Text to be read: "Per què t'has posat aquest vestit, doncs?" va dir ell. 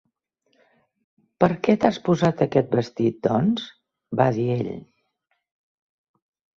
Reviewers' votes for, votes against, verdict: 3, 0, accepted